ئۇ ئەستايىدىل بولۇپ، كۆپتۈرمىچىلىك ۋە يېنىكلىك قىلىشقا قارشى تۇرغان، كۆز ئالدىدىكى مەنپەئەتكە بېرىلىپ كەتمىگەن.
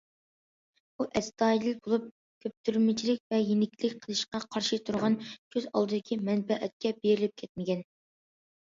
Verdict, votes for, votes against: accepted, 2, 0